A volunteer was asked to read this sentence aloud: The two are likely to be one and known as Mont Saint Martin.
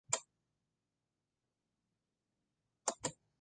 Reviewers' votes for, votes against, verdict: 0, 2, rejected